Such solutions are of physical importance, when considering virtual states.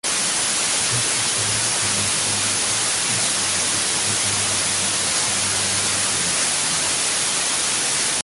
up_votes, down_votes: 0, 2